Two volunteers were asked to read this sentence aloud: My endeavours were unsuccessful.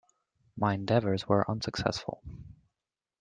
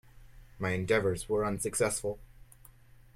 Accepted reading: first